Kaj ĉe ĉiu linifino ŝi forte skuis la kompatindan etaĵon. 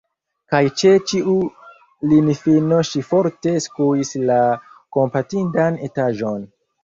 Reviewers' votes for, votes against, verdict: 2, 0, accepted